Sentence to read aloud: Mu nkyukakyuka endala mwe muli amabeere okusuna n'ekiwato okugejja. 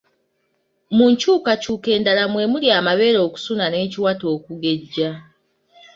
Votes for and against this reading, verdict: 2, 1, accepted